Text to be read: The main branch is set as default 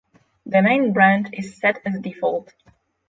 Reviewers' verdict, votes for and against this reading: rejected, 3, 3